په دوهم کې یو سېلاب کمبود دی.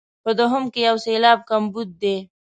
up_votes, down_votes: 2, 0